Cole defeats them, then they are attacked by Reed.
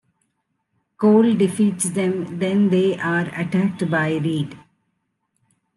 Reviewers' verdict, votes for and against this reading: accepted, 2, 0